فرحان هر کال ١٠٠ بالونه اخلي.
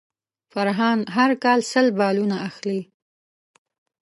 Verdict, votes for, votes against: rejected, 0, 2